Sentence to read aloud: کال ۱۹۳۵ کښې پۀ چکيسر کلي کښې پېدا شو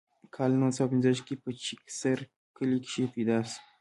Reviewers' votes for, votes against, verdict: 0, 2, rejected